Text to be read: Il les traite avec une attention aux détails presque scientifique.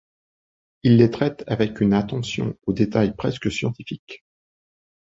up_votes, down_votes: 2, 0